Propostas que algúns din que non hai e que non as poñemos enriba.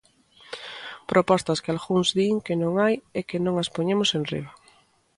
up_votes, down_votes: 2, 0